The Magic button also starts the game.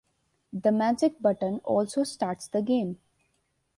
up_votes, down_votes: 2, 0